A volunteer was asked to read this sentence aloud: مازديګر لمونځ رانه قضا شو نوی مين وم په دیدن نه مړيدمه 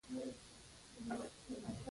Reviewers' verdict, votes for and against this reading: accepted, 2, 0